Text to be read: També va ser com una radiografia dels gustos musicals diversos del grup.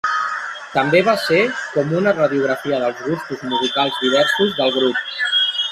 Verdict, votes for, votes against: rejected, 1, 2